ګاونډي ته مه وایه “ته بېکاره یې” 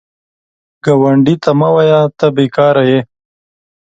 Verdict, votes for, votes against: accepted, 2, 0